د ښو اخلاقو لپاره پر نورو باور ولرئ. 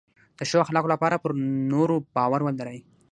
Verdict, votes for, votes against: rejected, 3, 3